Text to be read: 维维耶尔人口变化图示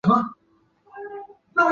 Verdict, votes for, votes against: rejected, 0, 2